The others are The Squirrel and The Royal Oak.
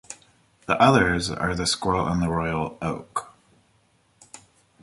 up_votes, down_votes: 2, 1